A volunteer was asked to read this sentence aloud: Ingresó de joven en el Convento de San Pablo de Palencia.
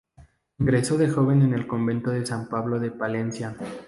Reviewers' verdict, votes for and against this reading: rejected, 0, 2